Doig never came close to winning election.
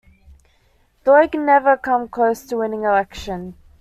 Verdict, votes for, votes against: rejected, 1, 2